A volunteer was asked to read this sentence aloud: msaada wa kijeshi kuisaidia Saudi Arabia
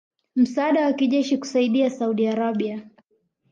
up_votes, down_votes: 2, 0